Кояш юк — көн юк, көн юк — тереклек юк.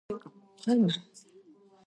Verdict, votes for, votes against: rejected, 0, 2